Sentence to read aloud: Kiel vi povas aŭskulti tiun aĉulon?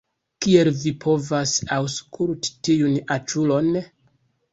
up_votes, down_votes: 0, 2